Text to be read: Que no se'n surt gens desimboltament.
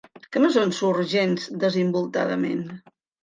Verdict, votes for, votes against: rejected, 1, 2